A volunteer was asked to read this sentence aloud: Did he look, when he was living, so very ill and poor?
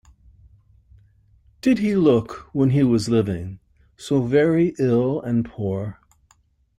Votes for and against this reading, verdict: 2, 0, accepted